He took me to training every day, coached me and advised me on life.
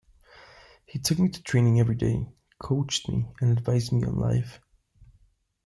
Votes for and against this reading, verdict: 2, 1, accepted